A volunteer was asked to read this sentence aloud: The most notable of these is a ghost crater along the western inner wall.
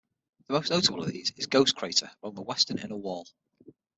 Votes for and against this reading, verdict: 3, 6, rejected